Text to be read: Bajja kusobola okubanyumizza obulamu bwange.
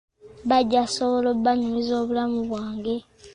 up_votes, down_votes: 1, 2